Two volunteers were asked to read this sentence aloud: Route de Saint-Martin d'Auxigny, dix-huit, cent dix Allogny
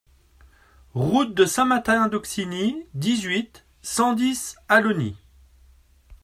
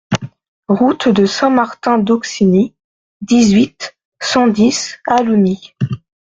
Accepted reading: second